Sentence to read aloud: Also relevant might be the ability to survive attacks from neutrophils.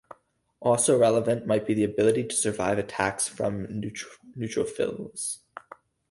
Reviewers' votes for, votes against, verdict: 0, 4, rejected